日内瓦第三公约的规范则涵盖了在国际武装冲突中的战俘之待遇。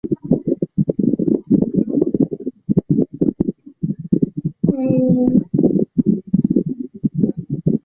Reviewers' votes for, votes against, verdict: 0, 3, rejected